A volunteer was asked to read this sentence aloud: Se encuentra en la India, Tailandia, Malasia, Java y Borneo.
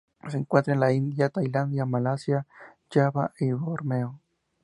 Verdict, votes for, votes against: accepted, 2, 0